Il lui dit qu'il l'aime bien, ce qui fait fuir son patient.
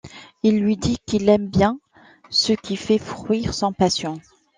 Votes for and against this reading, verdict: 1, 2, rejected